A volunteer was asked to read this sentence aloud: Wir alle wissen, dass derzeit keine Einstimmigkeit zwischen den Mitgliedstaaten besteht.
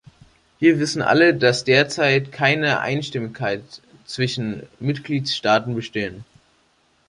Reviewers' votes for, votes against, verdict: 1, 2, rejected